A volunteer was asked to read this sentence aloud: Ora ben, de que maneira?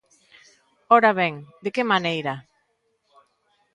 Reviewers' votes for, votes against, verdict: 3, 0, accepted